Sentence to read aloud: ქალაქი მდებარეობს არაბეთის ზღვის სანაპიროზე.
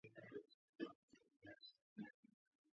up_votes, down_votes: 0, 2